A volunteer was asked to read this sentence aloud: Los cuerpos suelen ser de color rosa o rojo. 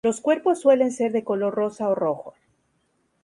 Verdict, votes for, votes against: accepted, 4, 0